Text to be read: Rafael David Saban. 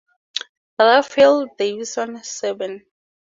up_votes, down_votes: 0, 2